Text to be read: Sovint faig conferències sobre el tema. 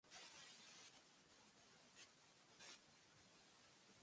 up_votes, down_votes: 0, 2